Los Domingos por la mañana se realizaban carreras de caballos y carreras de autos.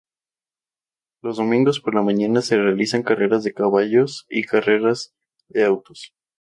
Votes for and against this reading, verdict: 0, 2, rejected